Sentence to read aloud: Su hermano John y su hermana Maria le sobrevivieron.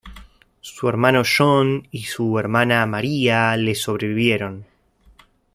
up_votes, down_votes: 2, 0